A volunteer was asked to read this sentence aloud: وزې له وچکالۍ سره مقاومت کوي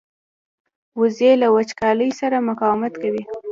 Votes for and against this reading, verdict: 2, 0, accepted